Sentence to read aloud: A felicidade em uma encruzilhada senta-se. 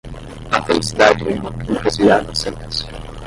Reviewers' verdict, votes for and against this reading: rejected, 0, 5